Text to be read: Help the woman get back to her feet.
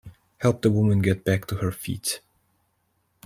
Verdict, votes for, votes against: accepted, 2, 0